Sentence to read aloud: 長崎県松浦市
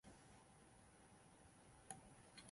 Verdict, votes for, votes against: rejected, 0, 2